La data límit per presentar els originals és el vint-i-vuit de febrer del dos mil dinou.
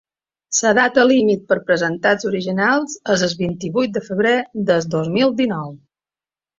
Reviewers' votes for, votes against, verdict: 2, 1, accepted